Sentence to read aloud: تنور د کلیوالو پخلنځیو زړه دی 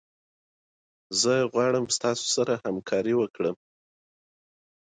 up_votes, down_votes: 1, 2